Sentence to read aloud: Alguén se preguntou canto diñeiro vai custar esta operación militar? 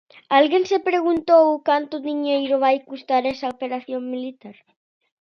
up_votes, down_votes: 0, 2